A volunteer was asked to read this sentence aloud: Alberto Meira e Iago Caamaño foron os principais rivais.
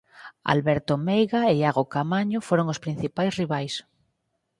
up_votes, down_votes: 2, 6